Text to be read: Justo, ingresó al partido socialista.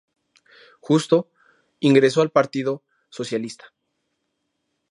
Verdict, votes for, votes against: accepted, 2, 0